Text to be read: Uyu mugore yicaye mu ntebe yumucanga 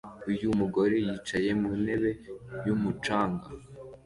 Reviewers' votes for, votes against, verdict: 2, 0, accepted